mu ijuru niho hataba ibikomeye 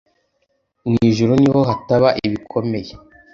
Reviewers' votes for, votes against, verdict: 1, 2, rejected